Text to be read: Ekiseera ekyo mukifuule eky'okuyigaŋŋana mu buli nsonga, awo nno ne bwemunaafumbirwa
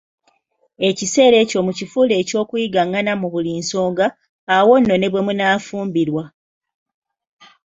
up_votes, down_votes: 2, 0